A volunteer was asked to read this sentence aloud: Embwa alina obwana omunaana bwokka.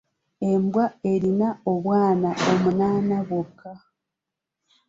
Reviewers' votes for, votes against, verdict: 2, 0, accepted